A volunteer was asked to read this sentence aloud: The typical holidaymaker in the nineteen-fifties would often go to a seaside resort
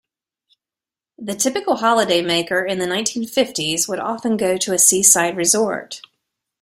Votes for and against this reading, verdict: 2, 0, accepted